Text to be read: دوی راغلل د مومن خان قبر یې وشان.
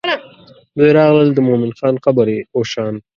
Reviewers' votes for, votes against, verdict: 2, 1, accepted